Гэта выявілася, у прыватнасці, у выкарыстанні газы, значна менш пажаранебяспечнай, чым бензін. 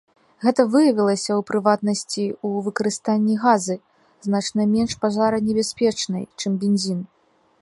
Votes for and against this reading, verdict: 2, 0, accepted